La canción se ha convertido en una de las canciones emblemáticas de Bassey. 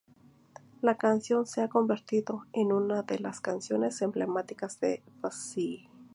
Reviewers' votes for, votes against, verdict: 2, 0, accepted